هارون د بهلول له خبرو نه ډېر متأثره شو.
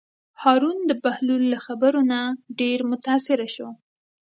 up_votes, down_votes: 2, 0